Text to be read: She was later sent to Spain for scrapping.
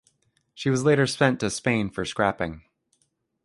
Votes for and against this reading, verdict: 2, 1, accepted